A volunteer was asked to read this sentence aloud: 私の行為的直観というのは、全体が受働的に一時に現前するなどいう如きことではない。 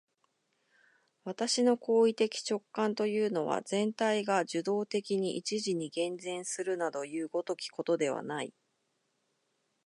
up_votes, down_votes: 2, 1